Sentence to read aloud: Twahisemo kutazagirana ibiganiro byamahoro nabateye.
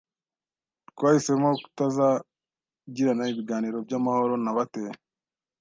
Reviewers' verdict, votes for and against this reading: accepted, 2, 0